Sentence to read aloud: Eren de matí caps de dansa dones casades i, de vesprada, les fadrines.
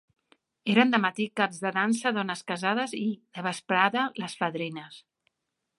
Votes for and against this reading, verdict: 2, 0, accepted